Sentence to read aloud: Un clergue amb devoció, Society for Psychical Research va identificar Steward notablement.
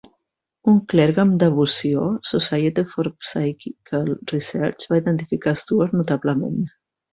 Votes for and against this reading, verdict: 2, 0, accepted